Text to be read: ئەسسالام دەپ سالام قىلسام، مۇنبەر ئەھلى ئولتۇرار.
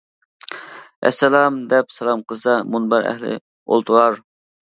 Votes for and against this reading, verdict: 3, 2, accepted